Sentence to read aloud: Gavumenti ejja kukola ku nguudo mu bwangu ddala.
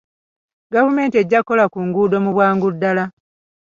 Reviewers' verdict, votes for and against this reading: accepted, 2, 1